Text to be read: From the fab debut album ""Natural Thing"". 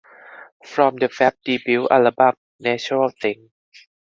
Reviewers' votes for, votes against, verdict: 0, 2, rejected